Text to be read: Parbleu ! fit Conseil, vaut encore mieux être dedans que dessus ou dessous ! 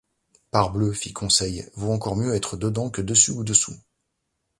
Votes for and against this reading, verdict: 2, 0, accepted